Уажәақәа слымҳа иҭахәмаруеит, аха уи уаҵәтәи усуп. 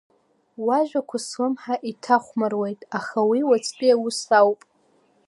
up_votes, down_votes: 2, 1